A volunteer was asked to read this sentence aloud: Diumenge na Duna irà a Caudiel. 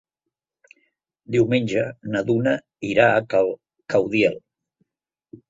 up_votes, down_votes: 0, 2